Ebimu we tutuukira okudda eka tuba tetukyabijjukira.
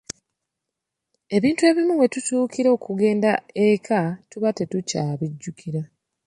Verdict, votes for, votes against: rejected, 1, 2